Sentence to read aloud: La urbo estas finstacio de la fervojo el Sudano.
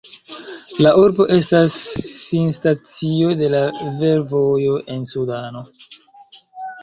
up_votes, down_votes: 1, 2